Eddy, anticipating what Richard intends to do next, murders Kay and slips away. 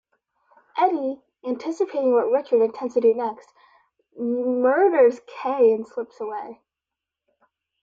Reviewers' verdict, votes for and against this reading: rejected, 0, 2